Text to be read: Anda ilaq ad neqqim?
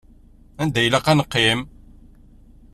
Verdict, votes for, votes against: accepted, 2, 0